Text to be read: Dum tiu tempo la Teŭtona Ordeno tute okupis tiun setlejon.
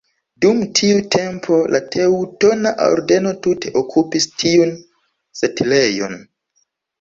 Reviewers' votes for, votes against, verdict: 1, 2, rejected